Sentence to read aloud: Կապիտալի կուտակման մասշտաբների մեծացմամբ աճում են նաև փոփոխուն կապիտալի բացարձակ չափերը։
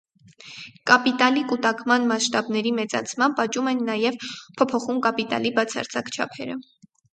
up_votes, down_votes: 0, 2